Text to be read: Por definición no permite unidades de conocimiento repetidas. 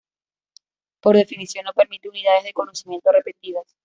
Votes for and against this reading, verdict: 2, 0, accepted